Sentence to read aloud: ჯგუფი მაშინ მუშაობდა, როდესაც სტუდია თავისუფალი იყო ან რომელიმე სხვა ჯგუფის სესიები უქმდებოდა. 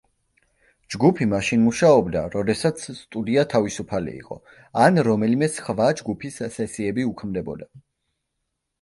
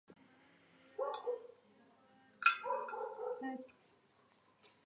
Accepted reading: first